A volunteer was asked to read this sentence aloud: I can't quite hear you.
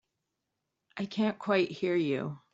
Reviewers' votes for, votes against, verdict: 2, 1, accepted